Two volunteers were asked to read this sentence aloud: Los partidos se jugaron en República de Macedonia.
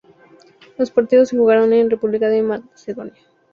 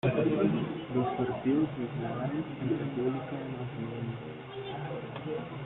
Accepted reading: first